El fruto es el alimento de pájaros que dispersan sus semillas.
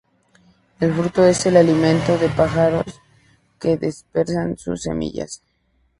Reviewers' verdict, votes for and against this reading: accepted, 2, 0